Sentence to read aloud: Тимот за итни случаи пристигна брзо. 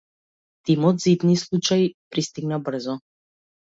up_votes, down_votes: 2, 0